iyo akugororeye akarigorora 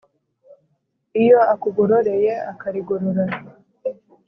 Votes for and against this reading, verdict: 2, 0, accepted